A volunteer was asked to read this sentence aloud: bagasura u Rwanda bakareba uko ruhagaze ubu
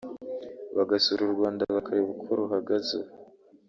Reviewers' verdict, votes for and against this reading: rejected, 0, 2